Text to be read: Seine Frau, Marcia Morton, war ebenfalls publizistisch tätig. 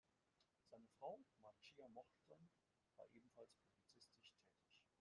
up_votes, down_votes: 0, 2